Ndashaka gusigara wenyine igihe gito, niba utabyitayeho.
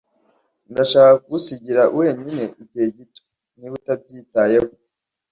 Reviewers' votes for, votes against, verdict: 0, 2, rejected